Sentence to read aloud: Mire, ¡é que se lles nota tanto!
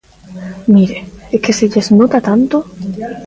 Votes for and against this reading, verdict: 2, 0, accepted